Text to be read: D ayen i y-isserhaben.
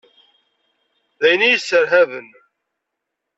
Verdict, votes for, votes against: accepted, 2, 0